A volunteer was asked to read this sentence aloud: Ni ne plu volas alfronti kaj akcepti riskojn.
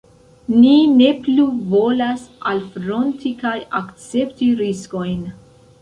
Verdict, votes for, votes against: accepted, 2, 0